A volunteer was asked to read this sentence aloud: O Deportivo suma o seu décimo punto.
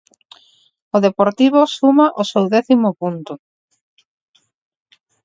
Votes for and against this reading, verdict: 4, 0, accepted